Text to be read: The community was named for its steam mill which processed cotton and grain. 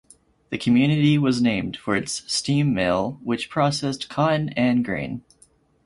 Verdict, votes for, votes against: accepted, 4, 0